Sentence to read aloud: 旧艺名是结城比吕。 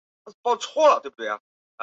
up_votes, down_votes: 0, 2